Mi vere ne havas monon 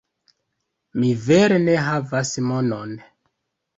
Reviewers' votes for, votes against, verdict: 2, 0, accepted